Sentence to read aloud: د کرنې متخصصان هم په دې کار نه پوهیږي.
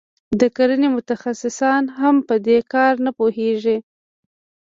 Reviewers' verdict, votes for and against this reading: rejected, 0, 2